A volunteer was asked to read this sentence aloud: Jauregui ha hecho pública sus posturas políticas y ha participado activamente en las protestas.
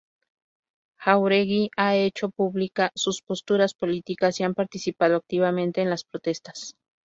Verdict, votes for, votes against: rejected, 0, 2